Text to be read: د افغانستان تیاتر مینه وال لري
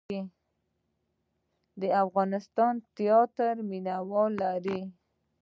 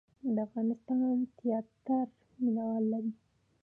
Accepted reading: first